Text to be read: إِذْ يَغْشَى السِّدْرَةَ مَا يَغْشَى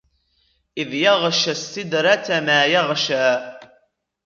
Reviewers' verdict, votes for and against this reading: rejected, 0, 2